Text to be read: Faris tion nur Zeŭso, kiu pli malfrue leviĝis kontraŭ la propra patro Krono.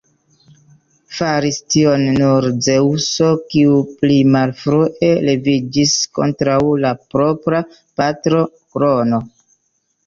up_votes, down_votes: 1, 2